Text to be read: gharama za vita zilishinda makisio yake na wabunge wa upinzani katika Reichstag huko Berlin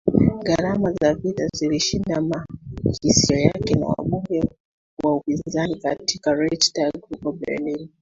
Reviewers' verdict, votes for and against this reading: rejected, 1, 2